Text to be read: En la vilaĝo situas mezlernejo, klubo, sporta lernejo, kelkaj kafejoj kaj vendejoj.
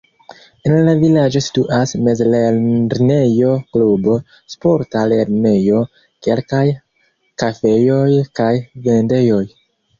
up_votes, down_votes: 0, 2